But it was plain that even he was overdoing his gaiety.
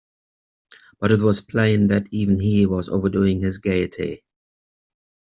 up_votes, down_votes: 2, 0